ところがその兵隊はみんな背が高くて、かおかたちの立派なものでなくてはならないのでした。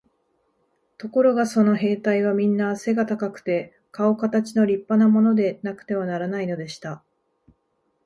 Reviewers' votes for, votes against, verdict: 8, 0, accepted